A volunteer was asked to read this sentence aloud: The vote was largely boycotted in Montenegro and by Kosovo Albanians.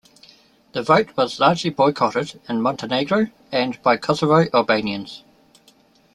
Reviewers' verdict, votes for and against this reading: rejected, 1, 2